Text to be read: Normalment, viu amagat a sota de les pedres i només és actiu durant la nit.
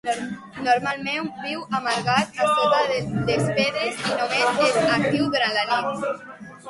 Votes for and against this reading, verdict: 0, 2, rejected